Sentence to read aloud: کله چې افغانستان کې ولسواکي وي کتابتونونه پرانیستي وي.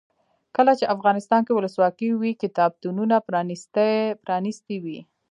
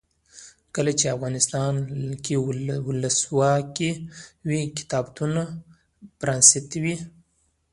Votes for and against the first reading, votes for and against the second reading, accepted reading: 2, 3, 2, 1, second